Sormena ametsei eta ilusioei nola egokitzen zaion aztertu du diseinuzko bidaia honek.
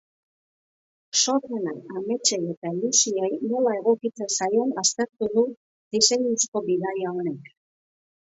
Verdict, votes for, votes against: accepted, 4, 0